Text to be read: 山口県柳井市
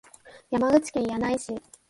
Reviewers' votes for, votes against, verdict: 2, 0, accepted